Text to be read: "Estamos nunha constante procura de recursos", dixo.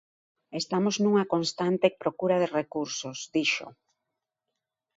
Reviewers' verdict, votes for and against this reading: accepted, 2, 0